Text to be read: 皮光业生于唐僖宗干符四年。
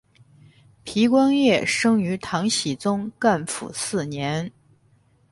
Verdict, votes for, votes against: accepted, 8, 2